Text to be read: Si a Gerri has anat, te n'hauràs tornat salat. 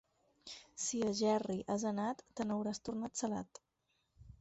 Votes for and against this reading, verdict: 4, 0, accepted